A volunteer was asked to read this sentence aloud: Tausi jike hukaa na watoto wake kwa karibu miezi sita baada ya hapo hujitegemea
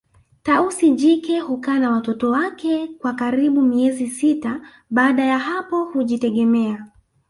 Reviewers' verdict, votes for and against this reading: rejected, 1, 2